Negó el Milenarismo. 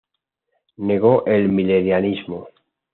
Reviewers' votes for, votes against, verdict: 2, 0, accepted